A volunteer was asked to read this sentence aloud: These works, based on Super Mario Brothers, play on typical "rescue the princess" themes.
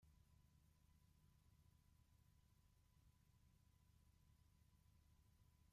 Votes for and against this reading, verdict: 0, 2, rejected